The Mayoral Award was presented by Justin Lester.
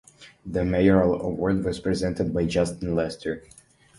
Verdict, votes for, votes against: accepted, 2, 0